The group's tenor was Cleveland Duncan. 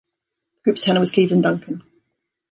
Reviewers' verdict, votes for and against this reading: rejected, 1, 2